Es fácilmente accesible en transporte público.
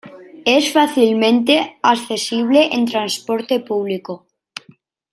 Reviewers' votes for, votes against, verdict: 2, 0, accepted